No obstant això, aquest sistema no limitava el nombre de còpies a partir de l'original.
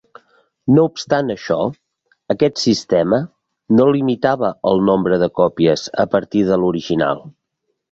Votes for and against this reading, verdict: 2, 0, accepted